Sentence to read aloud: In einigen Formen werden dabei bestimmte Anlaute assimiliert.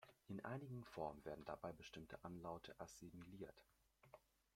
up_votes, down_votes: 2, 1